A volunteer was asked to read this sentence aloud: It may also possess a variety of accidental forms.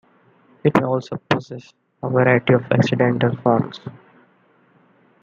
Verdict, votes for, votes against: rejected, 0, 2